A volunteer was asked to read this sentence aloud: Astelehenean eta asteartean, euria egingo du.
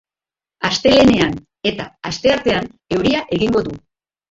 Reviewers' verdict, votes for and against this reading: rejected, 1, 2